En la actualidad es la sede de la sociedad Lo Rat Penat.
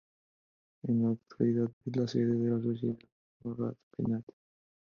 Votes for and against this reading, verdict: 0, 2, rejected